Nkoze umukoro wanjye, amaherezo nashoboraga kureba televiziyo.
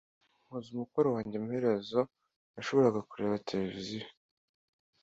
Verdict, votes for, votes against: accepted, 2, 0